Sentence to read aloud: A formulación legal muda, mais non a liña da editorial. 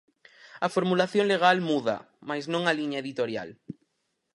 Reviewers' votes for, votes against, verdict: 2, 4, rejected